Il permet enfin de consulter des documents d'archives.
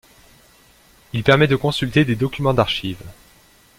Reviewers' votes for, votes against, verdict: 0, 2, rejected